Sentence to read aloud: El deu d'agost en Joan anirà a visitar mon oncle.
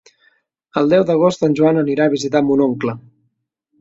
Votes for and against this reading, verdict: 3, 0, accepted